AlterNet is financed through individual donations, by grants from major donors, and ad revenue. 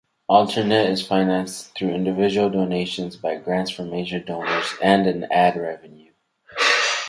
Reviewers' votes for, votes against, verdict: 0, 4, rejected